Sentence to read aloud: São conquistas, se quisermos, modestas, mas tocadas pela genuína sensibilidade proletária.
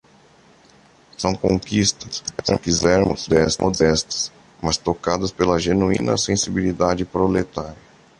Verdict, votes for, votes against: rejected, 0, 2